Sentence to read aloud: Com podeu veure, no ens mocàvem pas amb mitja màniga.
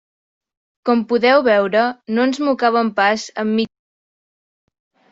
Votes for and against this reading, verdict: 0, 2, rejected